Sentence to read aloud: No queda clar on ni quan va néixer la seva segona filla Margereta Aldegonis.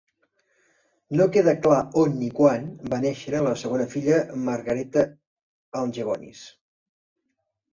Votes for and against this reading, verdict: 0, 3, rejected